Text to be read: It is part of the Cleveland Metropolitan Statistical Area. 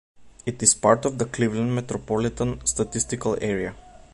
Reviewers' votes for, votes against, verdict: 2, 0, accepted